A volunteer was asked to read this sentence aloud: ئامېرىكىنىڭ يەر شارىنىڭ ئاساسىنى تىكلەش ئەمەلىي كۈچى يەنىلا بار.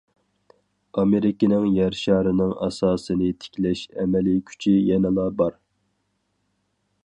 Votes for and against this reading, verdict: 4, 0, accepted